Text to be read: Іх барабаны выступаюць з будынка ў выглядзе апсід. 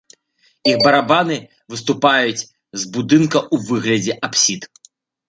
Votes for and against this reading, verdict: 1, 2, rejected